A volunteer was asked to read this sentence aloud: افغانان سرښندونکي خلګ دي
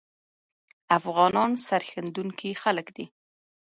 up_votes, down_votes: 2, 1